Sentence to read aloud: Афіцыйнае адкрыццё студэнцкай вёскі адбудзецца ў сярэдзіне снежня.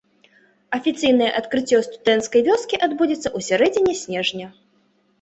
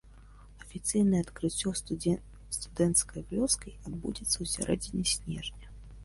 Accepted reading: first